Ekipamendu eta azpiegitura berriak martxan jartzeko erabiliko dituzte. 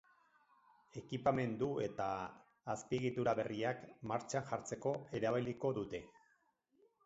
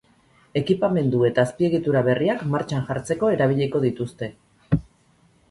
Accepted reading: second